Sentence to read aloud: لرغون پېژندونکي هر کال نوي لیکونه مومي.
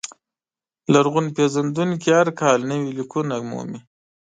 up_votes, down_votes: 2, 0